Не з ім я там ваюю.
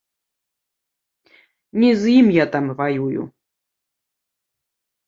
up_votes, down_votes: 2, 0